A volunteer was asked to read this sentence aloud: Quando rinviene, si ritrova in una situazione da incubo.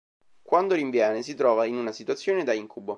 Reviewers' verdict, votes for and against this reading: rejected, 0, 2